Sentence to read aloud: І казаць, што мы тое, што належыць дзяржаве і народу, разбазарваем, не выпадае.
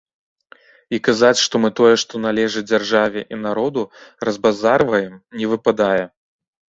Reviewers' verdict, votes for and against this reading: accepted, 2, 0